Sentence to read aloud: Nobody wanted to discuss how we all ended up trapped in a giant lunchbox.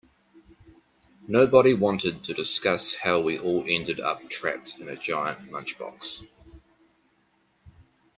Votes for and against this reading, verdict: 2, 0, accepted